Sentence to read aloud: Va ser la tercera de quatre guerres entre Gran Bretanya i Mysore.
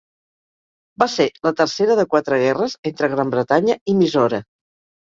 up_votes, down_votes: 2, 0